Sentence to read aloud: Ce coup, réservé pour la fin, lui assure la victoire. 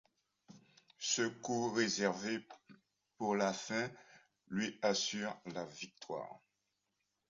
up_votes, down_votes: 2, 1